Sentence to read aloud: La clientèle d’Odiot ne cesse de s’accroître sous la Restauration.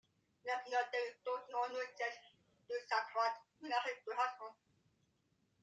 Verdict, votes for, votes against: rejected, 0, 2